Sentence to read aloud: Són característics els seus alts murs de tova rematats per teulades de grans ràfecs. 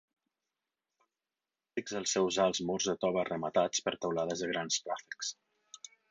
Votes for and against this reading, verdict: 2, 4, rejected